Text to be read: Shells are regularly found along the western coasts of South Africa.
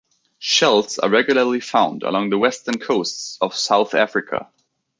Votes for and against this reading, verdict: 2, 0, accepted